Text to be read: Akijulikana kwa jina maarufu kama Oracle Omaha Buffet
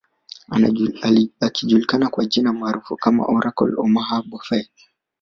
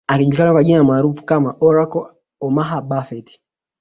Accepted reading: second